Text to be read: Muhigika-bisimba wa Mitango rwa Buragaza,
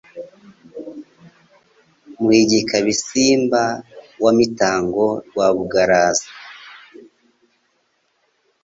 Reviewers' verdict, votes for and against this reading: rejected, 1, 2